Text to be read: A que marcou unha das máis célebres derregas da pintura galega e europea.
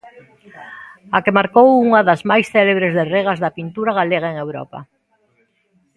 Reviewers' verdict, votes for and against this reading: rejected, 0, 2